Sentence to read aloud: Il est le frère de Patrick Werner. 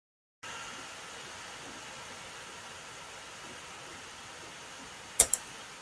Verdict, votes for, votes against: rejected, 0, 2